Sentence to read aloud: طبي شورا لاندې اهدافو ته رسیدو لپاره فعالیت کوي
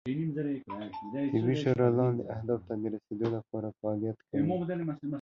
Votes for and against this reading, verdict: 2, 1, accepted